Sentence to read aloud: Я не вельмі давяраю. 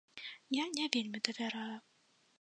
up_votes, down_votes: 2, 0